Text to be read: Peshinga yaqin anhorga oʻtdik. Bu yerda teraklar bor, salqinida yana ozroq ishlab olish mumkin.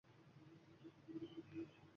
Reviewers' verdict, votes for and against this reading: rejected, 1, 2